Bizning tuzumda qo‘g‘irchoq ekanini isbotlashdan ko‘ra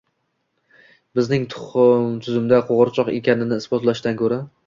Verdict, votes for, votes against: rejected, 0, 2